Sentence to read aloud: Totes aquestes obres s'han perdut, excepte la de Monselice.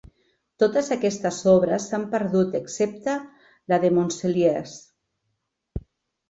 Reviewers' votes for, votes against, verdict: 0, 2, rejected